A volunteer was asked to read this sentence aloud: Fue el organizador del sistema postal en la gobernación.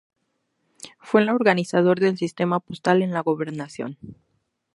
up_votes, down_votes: 2, 0